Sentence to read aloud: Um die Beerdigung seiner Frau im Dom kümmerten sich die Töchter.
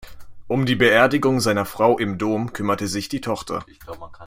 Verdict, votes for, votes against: rejected, 1, 2